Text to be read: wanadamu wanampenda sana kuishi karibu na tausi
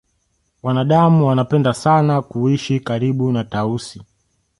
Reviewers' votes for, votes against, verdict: 1, 2, rejected